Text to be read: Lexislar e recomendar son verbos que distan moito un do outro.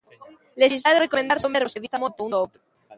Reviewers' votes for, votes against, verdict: 0, 2, rejected